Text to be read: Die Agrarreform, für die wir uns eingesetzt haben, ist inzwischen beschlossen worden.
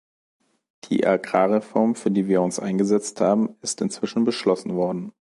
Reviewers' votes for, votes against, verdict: 2, 0, accepted